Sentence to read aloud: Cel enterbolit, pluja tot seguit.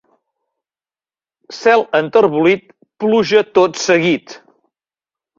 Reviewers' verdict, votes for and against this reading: accepted, 2, 0